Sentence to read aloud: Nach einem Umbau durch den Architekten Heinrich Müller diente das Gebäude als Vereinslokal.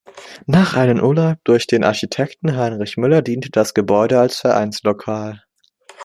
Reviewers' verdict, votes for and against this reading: rejected, 0, 2